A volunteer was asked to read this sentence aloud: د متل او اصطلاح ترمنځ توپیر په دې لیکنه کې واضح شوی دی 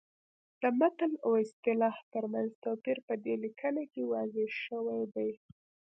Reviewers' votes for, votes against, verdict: 0, 2, rejected